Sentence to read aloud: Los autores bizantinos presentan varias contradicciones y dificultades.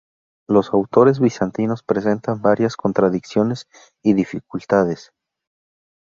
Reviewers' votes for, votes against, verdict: 2, 0, accepted